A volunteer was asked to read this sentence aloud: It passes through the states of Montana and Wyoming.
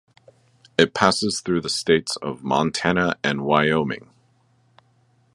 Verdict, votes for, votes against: accepted, 2, 0